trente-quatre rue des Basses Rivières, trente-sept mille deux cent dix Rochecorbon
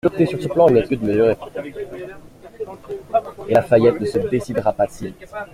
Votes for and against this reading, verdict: 0, 2, rejected